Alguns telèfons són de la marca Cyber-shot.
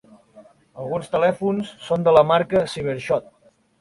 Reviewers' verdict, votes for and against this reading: accepted, 2, 0